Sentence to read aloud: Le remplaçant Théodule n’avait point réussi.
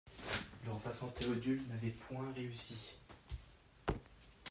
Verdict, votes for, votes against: rejected, 0, 2